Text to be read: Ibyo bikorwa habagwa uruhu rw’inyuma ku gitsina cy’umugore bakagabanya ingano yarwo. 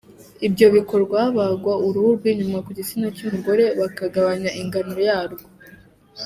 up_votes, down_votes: 1, 2